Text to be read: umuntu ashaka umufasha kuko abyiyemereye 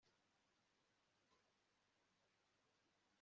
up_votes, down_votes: 0, 2